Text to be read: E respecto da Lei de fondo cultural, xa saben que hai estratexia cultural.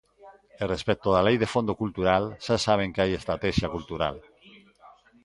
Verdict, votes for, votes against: rejected, 1, 2